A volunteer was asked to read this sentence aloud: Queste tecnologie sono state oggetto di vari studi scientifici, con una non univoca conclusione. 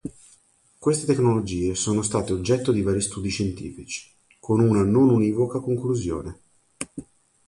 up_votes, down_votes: 2, 0